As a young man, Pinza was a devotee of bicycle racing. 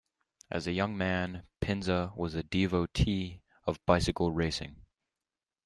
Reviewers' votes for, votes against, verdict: 2, 0, accepted